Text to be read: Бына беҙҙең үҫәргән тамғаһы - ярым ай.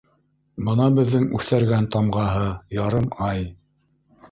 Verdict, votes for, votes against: rejected, 1, 2